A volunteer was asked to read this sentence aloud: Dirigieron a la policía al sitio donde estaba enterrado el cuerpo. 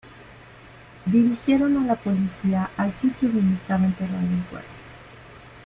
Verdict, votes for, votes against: accepted, 2, 0